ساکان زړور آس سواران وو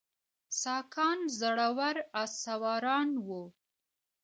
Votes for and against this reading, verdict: 1, 2, rejected